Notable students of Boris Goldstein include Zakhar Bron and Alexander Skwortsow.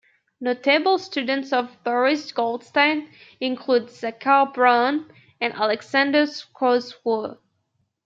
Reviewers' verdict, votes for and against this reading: rejected, 0, 2